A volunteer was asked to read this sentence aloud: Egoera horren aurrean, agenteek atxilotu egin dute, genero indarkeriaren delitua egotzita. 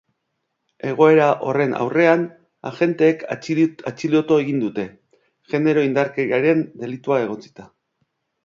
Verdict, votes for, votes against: rejected, 0, 2